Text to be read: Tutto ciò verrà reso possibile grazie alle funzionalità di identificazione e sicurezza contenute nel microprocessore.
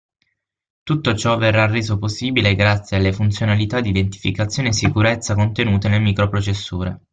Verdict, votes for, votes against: accepted, 6, 0